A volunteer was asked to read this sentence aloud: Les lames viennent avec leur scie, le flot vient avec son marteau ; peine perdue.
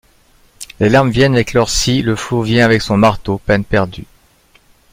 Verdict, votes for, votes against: accepted, 2, 0